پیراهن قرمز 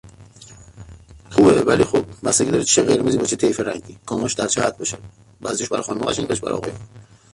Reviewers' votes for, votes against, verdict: 0, 2, rejected